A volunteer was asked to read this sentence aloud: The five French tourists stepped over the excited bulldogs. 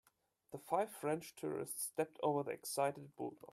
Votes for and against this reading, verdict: 2, 0, accepted